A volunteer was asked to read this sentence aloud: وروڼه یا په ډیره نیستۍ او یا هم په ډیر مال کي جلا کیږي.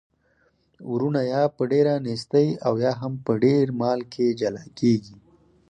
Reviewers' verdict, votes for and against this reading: accepted, 4, 0